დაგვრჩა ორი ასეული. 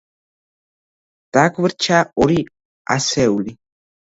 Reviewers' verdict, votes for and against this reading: rejected, 1, 2